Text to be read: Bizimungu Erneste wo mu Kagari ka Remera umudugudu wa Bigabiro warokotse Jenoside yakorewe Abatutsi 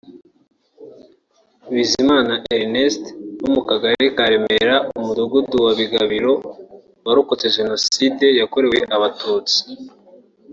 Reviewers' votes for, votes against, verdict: 2, 3, rejected